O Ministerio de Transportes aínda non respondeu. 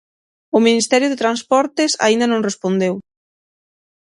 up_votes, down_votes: 6, 0